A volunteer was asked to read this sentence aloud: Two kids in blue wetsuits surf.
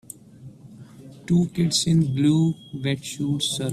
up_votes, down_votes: 2, 3